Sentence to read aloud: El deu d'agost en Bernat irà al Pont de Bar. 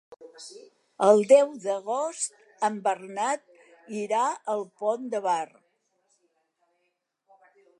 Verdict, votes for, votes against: accepted, 3, 1